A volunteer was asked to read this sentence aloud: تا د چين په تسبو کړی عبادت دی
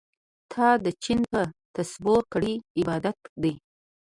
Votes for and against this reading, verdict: 3, 0, accepted